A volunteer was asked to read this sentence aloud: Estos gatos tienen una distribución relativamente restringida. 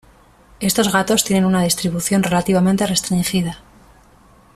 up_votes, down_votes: 2, 0